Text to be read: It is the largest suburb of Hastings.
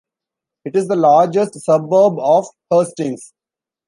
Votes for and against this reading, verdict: 1, 2, rejected